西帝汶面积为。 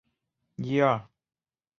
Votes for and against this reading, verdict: 0, 3, rejected